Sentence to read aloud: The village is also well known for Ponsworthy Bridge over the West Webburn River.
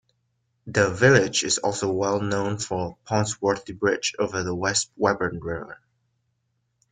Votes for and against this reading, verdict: 2, 1, accepted